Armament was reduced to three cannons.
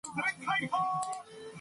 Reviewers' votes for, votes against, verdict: 0, 2, rejected